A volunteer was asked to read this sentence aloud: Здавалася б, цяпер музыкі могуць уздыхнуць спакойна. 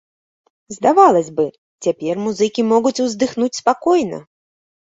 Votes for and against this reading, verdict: 1, 2, rejected